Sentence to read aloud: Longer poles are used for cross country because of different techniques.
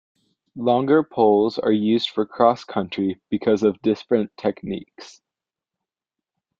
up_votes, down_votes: 1, 2